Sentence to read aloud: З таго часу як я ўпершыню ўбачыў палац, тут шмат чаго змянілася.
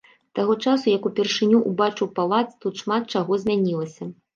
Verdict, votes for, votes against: rejected, 1, 2